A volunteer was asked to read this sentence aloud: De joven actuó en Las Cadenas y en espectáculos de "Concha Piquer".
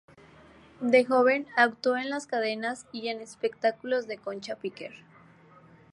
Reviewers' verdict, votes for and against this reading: accepted, 2, 0